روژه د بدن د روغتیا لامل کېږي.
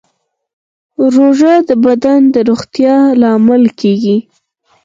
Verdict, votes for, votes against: accepted, 4, 0